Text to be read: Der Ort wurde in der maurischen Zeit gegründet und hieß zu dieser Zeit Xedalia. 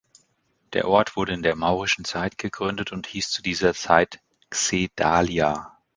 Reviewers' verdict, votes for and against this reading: accepted, 2, 0